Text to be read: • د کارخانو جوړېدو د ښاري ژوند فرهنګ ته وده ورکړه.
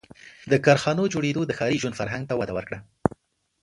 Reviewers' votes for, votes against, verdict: 2, 0, accepted